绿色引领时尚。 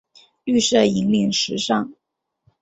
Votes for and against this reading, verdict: 3, 0, accepted